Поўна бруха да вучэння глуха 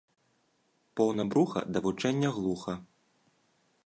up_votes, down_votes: 2, 0